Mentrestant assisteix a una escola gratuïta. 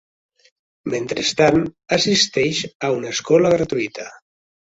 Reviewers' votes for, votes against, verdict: 3, 0, accepted